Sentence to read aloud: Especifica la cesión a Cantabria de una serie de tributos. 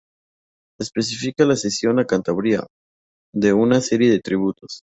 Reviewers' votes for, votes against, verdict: 2, 2, rejected